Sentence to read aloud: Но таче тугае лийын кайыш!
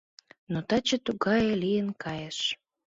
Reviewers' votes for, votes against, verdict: 2, 0, accepted